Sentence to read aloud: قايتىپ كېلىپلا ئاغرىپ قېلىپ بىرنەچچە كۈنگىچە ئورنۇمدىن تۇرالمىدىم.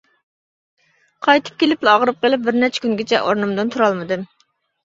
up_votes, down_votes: 2, 0